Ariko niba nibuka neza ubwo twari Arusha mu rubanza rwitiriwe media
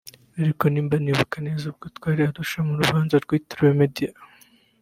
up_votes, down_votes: 1, 2